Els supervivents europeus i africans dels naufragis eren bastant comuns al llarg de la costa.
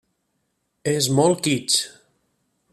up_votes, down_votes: 0, 2